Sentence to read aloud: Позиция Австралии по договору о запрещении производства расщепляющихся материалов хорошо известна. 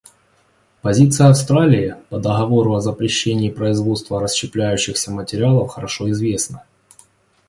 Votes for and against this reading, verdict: 2, 0, accepted